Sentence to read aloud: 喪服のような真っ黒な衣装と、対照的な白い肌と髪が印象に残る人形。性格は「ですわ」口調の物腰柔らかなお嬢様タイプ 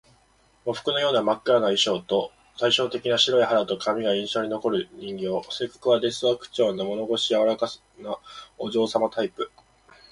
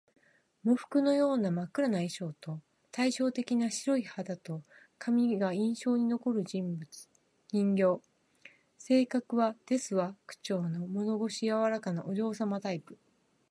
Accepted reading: second